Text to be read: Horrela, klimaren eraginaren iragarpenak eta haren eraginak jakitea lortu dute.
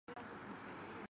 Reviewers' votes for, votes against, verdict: 0, 3, rejected